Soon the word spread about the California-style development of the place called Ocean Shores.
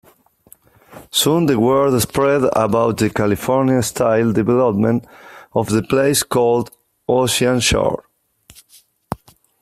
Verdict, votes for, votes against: accepted, 2, 0